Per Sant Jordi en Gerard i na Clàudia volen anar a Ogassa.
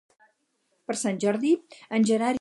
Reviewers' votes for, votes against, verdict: 0, 4, rejected